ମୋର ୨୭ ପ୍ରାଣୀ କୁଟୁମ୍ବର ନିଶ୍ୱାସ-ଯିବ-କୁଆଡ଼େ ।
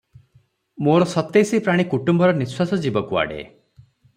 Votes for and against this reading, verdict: 0, 2, rejected